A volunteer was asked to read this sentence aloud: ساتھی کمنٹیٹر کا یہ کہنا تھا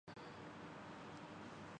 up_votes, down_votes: 0, 2